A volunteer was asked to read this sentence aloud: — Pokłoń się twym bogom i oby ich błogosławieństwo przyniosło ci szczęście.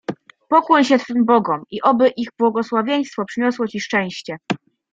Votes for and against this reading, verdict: 2, 0, accepted